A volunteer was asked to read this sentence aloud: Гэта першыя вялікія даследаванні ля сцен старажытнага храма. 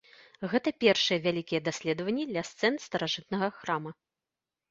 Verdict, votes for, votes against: rejected, 2, 3